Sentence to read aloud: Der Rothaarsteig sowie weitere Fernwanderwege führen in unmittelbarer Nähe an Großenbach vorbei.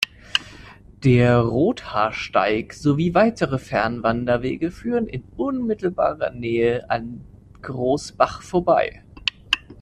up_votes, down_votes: 0, 2